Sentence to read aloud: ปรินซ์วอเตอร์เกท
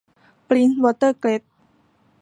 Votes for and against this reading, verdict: 0, 2, rejected